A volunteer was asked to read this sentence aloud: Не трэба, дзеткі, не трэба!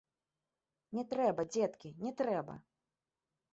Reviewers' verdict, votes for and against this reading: accepted, 2, 1